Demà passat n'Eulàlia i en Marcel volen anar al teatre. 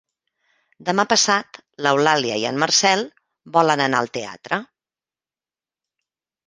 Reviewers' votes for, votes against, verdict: 1, 2, rejected